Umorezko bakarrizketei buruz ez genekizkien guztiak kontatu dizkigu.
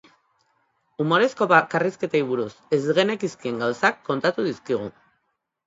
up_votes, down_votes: 1, 2